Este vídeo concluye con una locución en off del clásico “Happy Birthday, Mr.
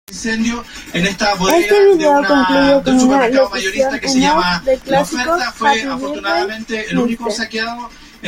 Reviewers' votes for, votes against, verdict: 0, 2, rejected